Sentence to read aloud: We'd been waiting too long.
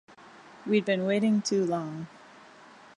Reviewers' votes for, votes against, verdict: 2, 0, accepted